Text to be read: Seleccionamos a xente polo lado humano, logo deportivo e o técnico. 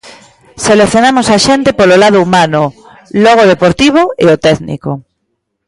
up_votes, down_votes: 1, 2